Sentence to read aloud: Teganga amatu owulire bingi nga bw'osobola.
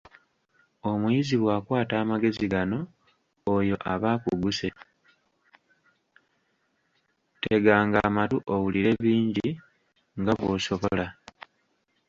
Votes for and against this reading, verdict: 0, 2, rejected